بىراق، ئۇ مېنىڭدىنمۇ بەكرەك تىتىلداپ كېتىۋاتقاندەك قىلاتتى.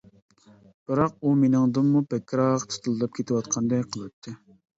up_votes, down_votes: 2, 1